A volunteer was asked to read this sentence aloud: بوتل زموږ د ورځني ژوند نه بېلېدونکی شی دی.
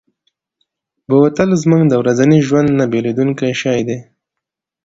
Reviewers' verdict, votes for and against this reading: accepted, 2, 0